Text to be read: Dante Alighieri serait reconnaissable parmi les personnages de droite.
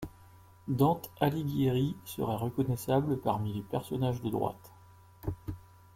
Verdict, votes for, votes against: rejected, 1, 2